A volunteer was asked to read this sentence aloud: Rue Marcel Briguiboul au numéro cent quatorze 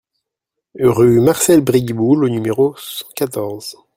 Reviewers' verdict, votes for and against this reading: rejected, 0, 2